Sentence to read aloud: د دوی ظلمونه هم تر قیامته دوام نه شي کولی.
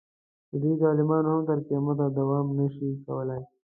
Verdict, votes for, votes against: rejected, 0, 2